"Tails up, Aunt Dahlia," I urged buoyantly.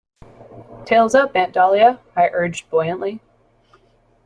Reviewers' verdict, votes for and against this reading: accepted, 2, 0